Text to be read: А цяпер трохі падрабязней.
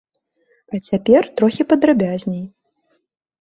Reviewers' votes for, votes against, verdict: 2, 0, accepted